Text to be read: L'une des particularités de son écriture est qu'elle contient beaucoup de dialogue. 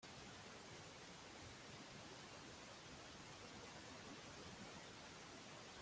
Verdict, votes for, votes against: rejected, 0, 2